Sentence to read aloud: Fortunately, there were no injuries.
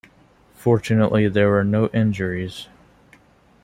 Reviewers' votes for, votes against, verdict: 2, 0, accepted